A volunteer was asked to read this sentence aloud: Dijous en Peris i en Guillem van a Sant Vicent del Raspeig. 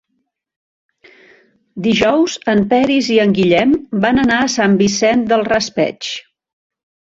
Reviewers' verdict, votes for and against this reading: rejected, 1, 2